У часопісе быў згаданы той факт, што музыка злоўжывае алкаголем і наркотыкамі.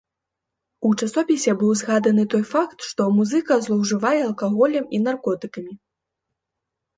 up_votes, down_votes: 2, 0